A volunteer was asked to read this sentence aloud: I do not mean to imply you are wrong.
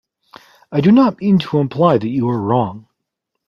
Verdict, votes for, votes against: accepted, 2, 1